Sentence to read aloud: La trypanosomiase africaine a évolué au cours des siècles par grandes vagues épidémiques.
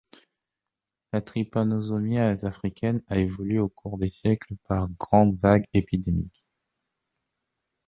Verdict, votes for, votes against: accepted, 3, 0